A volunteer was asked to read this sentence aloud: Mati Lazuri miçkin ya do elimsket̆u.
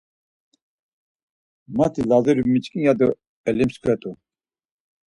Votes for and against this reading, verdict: 4, 0, accepted